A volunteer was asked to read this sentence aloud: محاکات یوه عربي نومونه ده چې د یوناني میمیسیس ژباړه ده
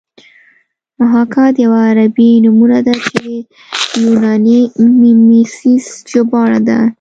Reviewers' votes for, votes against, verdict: 0, 2, rejected